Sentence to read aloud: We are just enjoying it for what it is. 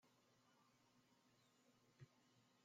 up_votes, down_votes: 0, 2